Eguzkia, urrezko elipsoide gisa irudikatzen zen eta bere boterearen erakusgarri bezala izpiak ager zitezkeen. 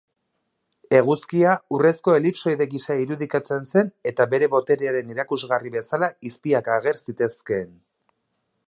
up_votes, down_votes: 2, 0